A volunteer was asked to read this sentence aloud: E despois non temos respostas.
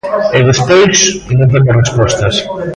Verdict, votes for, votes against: rejected, 1, 2